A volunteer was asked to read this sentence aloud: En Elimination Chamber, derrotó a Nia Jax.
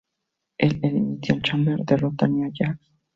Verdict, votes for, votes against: rejected, 0, 2